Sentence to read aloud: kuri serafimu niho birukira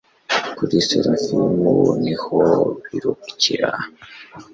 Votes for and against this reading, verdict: 2, 0, accepted